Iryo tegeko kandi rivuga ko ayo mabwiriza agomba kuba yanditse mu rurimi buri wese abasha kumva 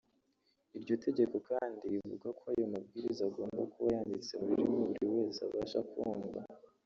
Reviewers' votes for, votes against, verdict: 0, 2, rejected